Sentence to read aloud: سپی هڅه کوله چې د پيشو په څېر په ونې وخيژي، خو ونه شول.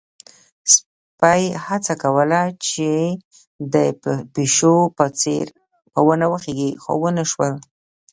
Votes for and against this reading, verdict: 1, 2, rejected